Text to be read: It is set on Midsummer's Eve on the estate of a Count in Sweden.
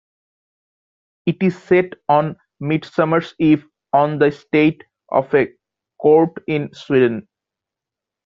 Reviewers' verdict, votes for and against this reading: rejected, 0, 2